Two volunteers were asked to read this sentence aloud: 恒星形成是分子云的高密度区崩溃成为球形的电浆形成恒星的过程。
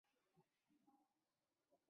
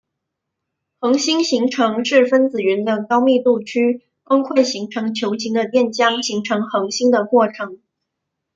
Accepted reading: second